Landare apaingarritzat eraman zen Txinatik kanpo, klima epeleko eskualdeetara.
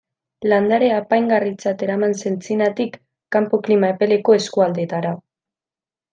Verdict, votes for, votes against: rejected, 0, 2